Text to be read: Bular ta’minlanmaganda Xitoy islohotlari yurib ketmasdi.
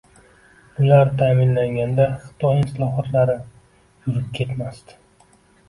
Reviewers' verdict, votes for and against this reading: rejected, 0, 2